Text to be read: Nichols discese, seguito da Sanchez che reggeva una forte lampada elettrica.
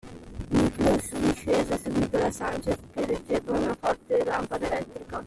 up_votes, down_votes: 0, 2